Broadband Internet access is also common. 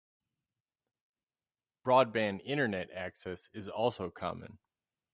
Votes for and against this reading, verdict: 6, 0, accepted